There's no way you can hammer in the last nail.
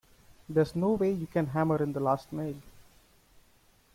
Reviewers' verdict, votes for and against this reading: accepted, 2, 0